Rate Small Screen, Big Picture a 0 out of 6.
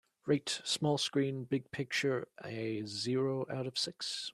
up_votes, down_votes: 0, 2